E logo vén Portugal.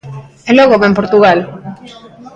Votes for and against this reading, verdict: 2, 0, accepted